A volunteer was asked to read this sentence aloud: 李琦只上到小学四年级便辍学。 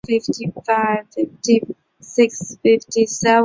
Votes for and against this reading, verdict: 0, 4, rejected